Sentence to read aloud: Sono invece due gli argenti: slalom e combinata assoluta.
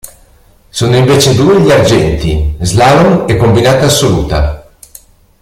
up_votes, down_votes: 1, 2